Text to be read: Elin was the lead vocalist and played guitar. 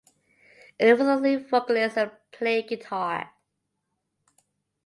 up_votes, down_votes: 0, 2